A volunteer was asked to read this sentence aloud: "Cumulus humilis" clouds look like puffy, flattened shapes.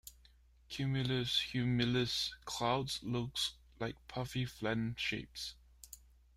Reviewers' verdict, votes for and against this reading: rejected, 0, 3